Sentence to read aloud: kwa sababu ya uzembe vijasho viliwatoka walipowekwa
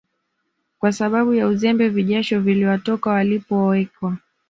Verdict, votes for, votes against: accepted, 2, 0